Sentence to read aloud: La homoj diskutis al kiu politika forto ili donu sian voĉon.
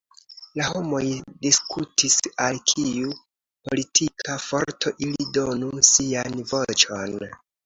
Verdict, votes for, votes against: accepted, 2, 0